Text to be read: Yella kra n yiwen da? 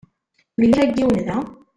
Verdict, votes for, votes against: rejected, 1, 2